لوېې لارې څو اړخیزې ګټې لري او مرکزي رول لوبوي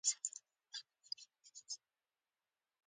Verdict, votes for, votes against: rejected, 0, 2